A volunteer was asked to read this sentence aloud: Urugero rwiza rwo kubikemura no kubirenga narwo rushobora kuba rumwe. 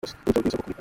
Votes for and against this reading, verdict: 0, 2, rejected